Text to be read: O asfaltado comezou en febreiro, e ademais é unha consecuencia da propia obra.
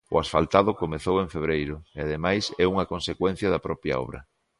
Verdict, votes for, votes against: accepted, 2, 0